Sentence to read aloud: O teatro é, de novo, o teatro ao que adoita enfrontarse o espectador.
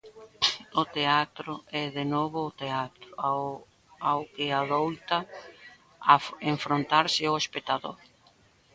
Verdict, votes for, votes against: rejected, 0, 2